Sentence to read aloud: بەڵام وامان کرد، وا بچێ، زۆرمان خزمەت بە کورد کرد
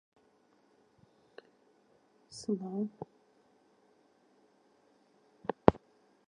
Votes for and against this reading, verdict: 0, 2, rejected